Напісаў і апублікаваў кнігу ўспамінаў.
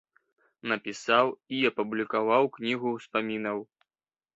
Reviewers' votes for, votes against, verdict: 2, 0, accepted